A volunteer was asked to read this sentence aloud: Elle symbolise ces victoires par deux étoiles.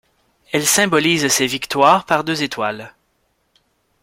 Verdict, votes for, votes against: accepted, 2, 0